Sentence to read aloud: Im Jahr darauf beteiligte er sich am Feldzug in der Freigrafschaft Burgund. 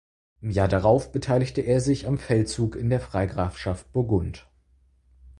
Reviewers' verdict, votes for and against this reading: accepted, 4, 0